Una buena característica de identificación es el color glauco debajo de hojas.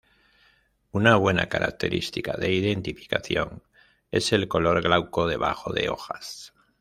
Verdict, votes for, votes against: accepted, 2, 0